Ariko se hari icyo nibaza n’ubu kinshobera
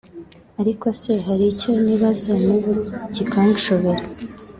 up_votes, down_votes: 3, 2